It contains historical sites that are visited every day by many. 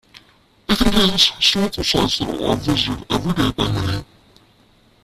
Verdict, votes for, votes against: rejected, 0, 2